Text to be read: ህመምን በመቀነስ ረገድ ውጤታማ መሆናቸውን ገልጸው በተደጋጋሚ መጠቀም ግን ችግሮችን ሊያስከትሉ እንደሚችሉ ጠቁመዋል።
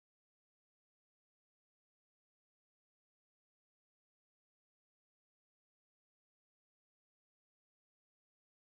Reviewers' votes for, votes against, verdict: 1, 2, rejected